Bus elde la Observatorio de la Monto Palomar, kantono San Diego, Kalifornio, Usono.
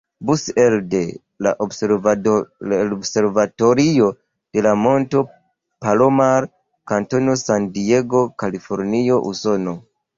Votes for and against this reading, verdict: 1, 2, rejected